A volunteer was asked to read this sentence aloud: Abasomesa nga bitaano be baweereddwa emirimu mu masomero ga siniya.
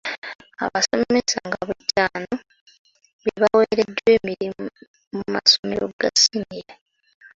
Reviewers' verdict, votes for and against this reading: accepted, 2, 1